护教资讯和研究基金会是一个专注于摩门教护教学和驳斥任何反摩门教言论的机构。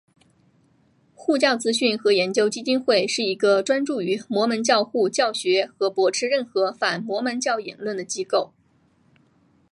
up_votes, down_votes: 2, 1